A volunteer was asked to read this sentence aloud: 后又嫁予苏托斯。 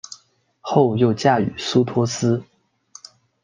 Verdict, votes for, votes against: accepted, 2, 0